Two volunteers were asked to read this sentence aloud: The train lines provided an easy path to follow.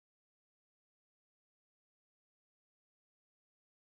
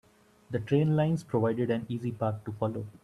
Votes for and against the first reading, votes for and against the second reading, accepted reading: 0, 2, 2, 0, second